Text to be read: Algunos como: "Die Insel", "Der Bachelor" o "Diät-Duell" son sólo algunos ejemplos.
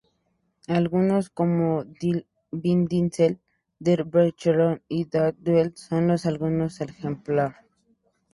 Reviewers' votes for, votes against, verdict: 2, 0, accepted